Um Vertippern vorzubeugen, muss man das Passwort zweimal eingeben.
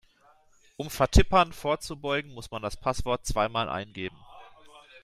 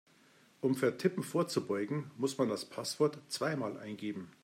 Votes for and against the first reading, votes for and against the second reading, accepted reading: 2, 0, 0, 2, first